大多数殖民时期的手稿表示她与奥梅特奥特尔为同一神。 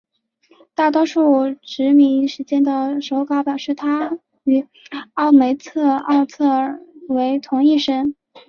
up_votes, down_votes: 3, 0